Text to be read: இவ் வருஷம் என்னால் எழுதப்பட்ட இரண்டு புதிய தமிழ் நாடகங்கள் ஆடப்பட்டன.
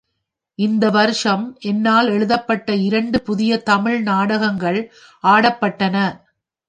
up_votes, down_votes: 1, 2